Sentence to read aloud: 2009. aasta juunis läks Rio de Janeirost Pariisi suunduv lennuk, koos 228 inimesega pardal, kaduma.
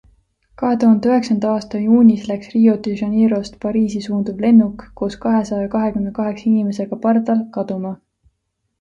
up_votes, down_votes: 0, 2